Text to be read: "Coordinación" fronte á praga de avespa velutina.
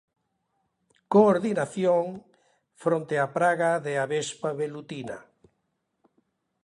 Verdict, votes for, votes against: accepted, 2, 0